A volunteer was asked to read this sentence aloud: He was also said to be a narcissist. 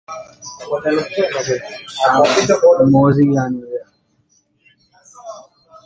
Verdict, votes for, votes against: rejected, 0, 2